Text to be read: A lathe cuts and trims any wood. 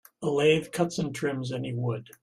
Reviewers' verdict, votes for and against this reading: accepted, 2, 0